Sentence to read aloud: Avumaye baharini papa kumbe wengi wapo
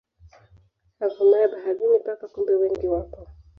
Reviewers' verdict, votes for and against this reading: rejected, 0, 2